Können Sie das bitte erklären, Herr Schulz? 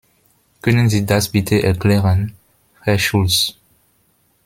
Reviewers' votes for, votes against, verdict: 2, 0, accepted